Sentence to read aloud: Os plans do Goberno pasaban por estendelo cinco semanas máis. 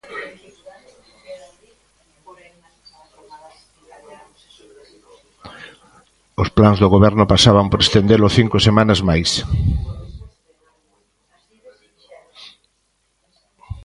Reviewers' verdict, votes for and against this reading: rejected, 1, 2